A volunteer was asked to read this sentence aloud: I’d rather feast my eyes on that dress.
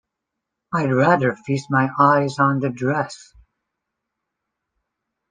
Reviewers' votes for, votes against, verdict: 0, 2, rejected